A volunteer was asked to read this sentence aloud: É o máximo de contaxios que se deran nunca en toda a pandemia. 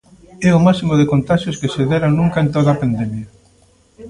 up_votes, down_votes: 1, 2